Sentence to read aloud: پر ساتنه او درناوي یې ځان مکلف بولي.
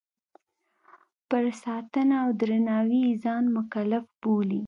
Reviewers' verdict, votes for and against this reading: accepted, 2, 0